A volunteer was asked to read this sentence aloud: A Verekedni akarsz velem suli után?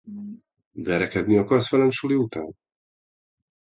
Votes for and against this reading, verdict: 0, 2, rejected